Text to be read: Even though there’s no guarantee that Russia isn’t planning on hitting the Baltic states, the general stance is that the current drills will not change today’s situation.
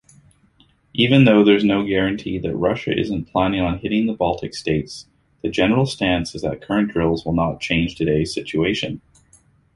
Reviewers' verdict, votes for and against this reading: accepted, 2, 0